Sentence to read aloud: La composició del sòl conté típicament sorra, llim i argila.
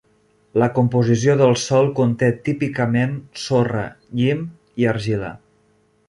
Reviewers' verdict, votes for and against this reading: accepted, 3, 0